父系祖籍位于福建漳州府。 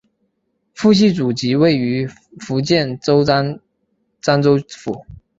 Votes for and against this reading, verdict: 0, 2, rejected